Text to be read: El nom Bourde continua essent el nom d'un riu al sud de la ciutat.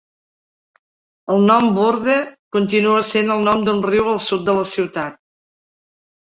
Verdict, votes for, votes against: accepted, 2, 0